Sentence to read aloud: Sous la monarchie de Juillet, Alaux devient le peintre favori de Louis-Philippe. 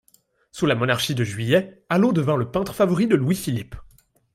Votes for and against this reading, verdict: 1, 2, rejected